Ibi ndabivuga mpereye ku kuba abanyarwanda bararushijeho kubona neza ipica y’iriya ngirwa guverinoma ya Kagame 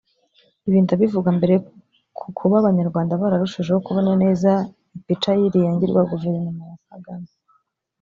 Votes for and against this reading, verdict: 0, 2, rejected